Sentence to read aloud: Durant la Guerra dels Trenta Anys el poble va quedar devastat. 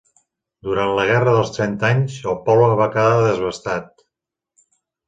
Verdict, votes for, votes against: rejected, 1, 2